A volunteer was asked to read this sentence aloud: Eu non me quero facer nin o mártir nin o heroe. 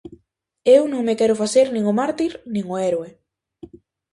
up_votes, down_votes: 0, 4